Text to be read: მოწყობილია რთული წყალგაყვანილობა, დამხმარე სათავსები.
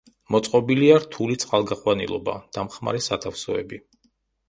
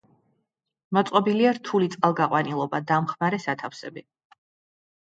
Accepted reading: second